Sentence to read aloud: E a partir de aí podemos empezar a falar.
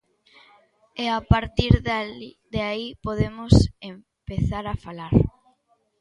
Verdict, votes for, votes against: rejected, 0, 2